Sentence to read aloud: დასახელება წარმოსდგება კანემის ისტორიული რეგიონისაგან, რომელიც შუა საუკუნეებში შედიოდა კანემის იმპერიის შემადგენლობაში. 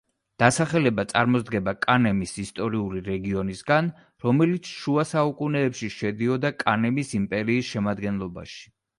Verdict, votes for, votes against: accepted, 2, 0